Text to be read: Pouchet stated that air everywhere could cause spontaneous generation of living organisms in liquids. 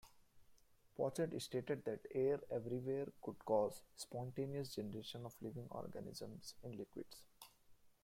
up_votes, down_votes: 0, 2